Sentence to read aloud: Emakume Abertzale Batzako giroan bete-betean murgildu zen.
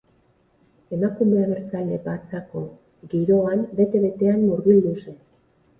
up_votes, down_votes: 0, 2